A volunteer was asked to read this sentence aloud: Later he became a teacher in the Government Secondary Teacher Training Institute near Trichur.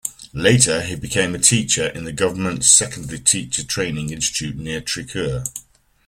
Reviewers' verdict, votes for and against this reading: accepted, 2, 0